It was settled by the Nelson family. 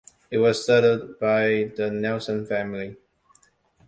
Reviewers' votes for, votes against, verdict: 2, 0, accepted